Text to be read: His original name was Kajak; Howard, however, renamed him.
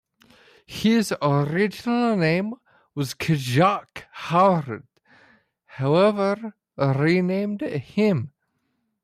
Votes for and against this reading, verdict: 0, 2, rejected